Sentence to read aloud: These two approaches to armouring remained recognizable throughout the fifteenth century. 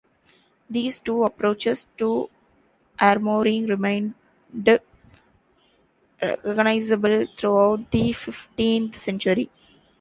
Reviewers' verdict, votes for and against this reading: rejected, 0, 2